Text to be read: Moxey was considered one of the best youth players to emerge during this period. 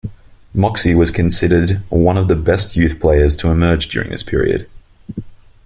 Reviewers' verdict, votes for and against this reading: accepted, 2, 0